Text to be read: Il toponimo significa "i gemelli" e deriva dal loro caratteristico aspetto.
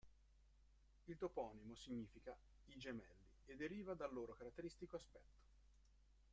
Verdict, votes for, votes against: accepted, 2, 1